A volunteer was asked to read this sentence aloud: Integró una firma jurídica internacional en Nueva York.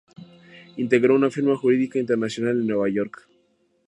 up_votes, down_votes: 2, 0